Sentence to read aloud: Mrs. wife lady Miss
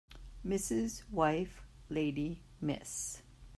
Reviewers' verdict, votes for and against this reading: accepted, 2, 0